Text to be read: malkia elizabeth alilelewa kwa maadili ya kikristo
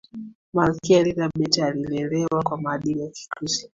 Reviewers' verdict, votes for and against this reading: accepted, 3, 1